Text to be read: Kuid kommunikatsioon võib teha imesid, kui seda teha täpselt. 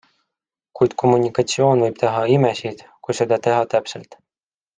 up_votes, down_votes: 2, 0